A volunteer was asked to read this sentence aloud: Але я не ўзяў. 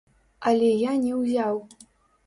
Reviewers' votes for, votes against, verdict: 1, 2, rejected